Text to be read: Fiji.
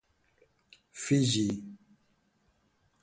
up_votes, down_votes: 4, 0